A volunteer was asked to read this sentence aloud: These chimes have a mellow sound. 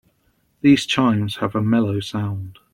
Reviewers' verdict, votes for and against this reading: accepted, 2, 0